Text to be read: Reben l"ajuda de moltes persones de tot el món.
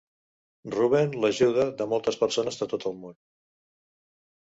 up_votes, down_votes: 1, 2